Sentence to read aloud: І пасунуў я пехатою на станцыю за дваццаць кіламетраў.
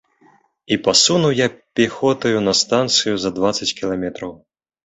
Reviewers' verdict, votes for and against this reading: rejected, 0, 2